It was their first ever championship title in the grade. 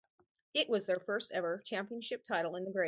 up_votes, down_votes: 4, 2